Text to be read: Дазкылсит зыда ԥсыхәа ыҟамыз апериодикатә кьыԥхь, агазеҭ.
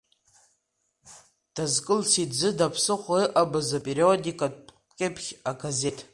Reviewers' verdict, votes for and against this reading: rejected, 1, 2